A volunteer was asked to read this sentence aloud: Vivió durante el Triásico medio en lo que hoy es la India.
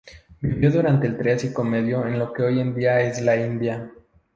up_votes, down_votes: 0, 2